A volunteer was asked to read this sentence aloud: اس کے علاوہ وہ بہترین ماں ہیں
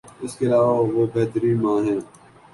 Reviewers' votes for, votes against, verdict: 3, 0, accepted